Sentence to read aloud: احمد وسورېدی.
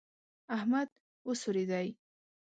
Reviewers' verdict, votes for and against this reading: accepted, 2, 0